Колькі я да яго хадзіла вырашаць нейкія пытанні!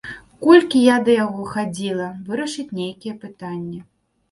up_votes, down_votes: 0, 2